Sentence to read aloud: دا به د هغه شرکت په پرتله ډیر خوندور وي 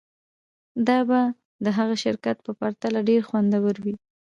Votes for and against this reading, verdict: 0, 2, rejected